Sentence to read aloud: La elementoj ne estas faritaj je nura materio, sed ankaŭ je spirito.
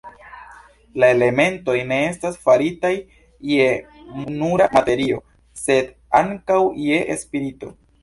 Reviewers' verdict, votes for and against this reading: accepted, 2, 0